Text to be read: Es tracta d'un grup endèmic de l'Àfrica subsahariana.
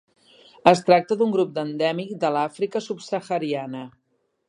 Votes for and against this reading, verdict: 0, 2, rejected